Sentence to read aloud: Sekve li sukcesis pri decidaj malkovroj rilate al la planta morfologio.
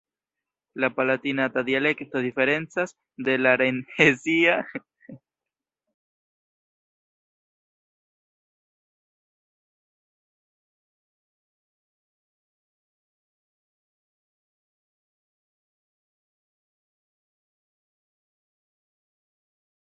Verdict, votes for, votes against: rejected, 0, 2